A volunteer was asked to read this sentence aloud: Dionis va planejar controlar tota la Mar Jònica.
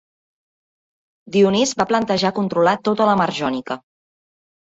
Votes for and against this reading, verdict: 0, 2, rejected